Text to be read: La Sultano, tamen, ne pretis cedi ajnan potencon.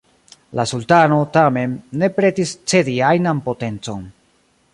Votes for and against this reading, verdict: 2, 1, accepted